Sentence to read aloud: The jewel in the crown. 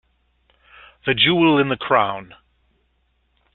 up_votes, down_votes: 2, 0